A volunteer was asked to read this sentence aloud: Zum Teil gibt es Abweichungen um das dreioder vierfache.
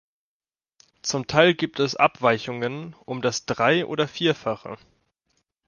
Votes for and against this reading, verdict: 2, 0, accepted